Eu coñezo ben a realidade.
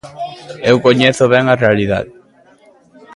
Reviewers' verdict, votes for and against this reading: accepted, 2, 0